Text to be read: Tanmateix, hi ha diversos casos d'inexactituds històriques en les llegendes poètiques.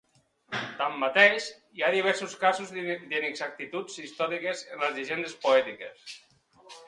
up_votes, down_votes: 0, 2